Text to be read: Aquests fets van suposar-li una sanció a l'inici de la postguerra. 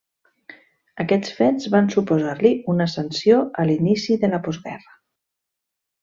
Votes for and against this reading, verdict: 3, 1, accepted